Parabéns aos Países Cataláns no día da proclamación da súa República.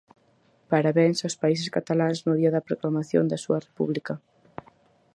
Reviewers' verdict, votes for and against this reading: accepted, 4, 0